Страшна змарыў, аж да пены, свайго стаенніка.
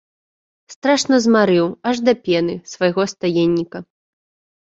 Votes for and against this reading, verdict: 2, 0, accepted